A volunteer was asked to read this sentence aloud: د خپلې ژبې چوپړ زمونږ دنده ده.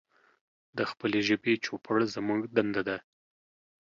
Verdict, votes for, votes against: accepted, 2, 0